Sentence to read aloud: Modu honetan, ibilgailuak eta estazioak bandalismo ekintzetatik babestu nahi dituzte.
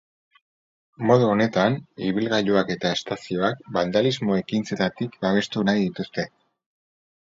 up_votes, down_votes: 4, 0